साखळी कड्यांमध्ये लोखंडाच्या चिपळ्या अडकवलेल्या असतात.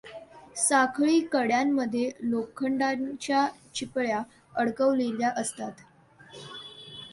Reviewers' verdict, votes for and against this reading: accepted, 2, 0